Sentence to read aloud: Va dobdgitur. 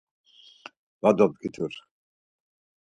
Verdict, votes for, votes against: accepted, 4, 0